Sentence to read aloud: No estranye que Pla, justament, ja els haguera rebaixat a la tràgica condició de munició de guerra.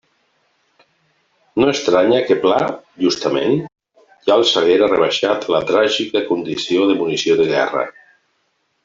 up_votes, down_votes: 0, 2